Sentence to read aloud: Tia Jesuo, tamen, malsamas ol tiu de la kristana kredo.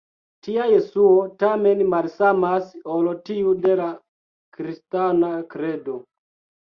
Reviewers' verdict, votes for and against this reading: accepted, 2, 1